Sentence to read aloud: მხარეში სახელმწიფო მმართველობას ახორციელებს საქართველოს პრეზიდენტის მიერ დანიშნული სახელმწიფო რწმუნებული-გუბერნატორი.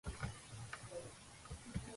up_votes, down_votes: 0, 2